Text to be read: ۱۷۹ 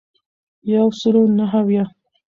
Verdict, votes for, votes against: rejected, 0, 2